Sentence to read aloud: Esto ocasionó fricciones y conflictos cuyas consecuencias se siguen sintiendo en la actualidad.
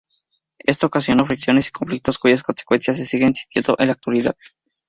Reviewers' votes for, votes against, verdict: 2, 0, accepted